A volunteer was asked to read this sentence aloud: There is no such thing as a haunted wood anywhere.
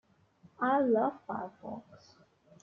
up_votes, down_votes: 0, 2